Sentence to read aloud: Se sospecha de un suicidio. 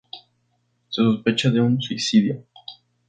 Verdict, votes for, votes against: rejected, 0, 2